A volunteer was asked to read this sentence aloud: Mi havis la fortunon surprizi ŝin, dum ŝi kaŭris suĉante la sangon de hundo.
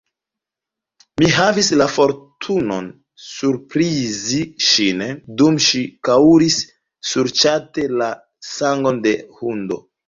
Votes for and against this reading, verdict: 1, 2, rejected